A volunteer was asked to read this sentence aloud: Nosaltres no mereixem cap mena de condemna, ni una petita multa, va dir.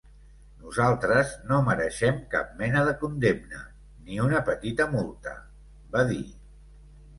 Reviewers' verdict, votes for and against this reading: accepted, 2, 0